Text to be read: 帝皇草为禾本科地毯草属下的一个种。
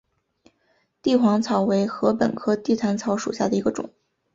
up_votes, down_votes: 2, 0